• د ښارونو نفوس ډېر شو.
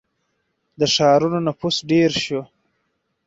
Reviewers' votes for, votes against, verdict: 2, 4, rejected